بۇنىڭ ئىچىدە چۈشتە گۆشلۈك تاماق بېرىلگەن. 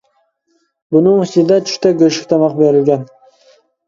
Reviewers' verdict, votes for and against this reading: accepted, 2, 0